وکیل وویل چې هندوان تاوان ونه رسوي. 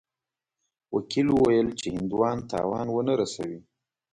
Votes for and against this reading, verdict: 2, 0, accepted